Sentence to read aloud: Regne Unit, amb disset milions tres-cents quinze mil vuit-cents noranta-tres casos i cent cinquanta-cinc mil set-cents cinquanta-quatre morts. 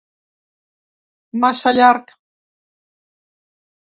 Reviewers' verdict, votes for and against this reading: rejected, 0, 2